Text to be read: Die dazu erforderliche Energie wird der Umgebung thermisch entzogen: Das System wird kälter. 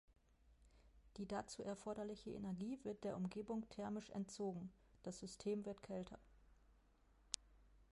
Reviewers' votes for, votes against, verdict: 1, 2, rejected